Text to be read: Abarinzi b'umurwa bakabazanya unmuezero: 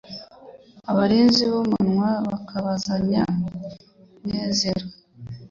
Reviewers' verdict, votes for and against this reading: rejected, 0, 2